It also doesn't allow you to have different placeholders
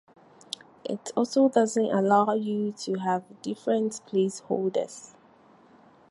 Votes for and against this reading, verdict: 4, 0, accepted